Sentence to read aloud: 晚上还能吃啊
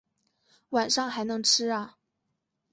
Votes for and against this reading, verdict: 9, 1, accepted